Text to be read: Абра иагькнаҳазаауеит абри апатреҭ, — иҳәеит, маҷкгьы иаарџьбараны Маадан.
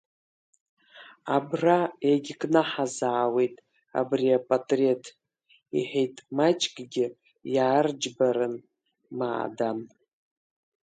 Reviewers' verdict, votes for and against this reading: accepted, 3, 0